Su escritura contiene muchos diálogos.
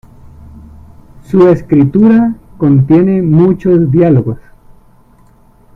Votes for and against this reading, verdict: 2, 1, accepted